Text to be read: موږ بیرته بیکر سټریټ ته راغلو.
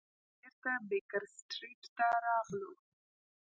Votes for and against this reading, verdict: 0, 2, rejected